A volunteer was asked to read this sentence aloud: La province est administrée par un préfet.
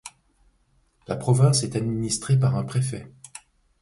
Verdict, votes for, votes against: accepted, 2, 0